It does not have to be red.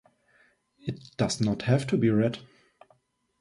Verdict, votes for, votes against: accepted, 2, 1